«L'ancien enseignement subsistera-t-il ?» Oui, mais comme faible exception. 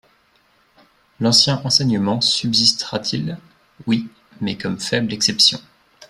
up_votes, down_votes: 3, 0